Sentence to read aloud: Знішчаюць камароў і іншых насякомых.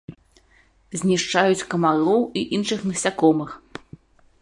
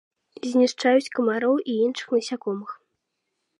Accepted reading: second